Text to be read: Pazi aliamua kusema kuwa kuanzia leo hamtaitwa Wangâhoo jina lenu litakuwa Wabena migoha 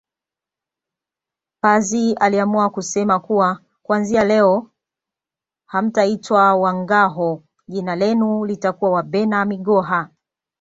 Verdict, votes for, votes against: accepted, 2, 1